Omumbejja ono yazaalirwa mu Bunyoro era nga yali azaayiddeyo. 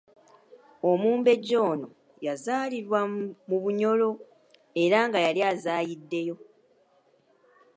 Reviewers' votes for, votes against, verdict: 1, 3, rejected